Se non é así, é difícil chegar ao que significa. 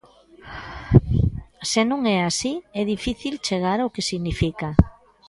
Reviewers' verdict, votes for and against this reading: rejected, 1, 2